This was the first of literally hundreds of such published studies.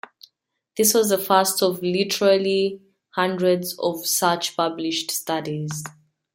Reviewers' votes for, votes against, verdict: 2, 0, accepted